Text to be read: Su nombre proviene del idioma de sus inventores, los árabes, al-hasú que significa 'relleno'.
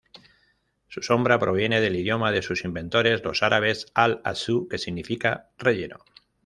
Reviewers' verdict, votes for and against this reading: rejected, 1, 2